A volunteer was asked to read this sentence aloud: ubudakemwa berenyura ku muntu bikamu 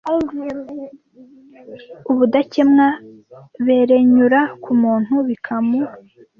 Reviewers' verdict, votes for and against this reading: rejected, 1, 2